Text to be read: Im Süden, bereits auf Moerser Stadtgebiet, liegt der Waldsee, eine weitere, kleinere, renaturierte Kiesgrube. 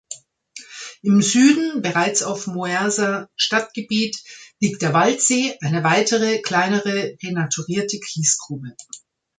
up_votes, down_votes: 2, 1